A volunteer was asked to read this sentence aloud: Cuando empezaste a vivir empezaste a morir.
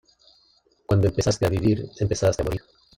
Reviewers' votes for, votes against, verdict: 1, 2, rejected